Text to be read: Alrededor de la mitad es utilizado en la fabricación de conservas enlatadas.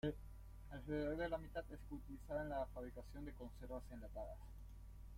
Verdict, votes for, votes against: rejected, 0, 2